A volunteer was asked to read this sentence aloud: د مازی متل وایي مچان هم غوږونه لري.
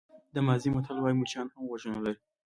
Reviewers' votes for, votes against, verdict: 2, 1, accepted